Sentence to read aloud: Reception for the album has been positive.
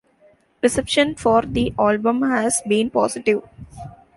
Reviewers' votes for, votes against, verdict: 2, 0, accepted